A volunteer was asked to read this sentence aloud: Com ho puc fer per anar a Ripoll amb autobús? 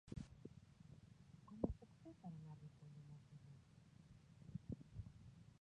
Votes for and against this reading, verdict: 0, 2, rejected